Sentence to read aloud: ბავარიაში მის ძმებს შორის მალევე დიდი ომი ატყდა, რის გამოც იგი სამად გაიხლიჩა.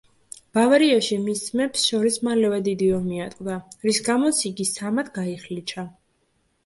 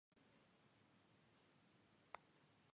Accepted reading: first